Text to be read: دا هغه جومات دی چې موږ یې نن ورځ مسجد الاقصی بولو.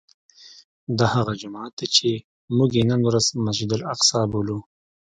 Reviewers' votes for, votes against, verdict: 2, 0, accepted